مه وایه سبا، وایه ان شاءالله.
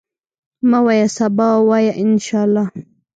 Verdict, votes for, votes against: rejected, 1, 2